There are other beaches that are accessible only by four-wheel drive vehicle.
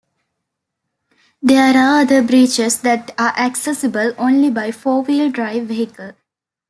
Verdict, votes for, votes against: rejected, 1, 2